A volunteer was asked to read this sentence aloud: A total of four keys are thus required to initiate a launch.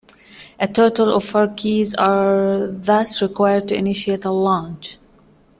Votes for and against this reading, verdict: 2, 0, accepted